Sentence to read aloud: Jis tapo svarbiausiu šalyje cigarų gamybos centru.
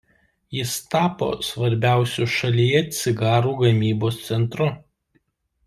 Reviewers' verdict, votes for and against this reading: accepted, 2, 0